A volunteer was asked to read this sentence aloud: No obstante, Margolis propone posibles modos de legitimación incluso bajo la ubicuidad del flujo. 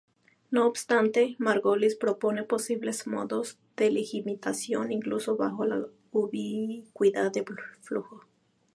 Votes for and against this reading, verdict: 0, 2, rejected